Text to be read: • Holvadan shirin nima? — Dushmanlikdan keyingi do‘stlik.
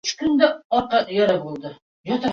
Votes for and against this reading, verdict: 0, 2, rejected